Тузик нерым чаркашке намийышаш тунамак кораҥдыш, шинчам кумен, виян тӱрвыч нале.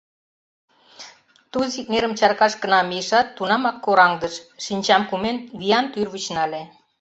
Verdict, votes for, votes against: rejected, 0, 2